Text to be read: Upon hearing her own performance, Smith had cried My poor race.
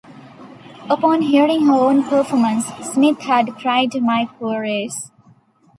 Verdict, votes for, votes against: rejected, 1, 2